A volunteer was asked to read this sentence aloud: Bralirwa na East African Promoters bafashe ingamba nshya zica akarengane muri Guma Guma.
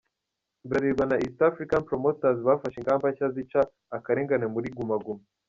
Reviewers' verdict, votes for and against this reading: rejected, 0, 2